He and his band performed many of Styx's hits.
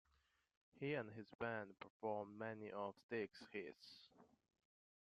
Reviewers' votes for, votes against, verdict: 1, 2, rejected